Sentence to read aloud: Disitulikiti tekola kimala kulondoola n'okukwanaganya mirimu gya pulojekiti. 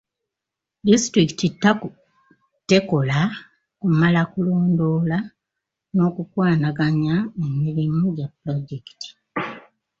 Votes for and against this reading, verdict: 1, 2, rejected